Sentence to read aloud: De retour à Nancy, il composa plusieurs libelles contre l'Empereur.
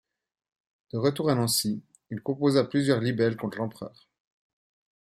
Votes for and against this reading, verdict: 2, 0, accepted